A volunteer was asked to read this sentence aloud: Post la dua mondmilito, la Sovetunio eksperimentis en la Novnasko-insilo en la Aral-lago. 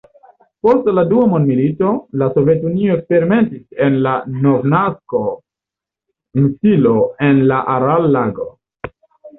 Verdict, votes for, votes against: accepted, 2, 0